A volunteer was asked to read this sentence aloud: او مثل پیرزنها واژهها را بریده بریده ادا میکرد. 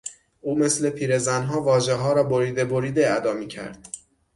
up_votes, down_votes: 6, 0